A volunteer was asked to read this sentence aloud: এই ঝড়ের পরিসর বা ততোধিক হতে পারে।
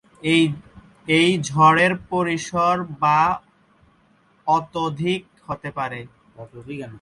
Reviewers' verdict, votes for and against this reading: rejected, 5, 8